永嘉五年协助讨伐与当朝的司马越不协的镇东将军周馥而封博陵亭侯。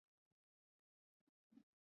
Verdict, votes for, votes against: rejected, 0, 3